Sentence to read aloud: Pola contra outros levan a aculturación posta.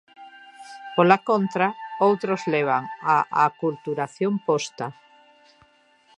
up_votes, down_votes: 2, 0